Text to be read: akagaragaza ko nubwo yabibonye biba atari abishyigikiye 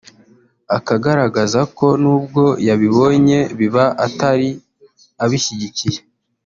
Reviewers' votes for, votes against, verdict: 1, 2, rejected